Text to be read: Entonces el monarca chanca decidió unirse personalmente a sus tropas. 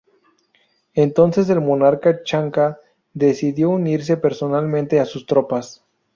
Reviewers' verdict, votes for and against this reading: accepted, 2, 0